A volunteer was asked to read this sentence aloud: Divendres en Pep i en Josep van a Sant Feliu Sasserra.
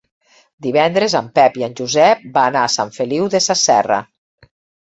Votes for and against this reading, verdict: 1, 2, rejected